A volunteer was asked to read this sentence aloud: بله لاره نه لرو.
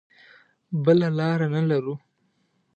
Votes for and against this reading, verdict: 2, 0, accepted